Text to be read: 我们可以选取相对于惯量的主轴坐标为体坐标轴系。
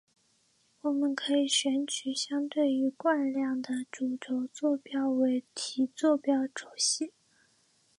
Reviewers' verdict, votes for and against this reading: rejected, 0, 2